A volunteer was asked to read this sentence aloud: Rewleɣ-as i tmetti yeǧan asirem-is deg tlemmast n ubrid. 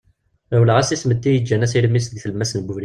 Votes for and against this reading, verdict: 0, 2, rejected